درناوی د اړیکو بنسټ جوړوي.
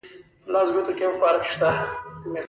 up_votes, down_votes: 1, 2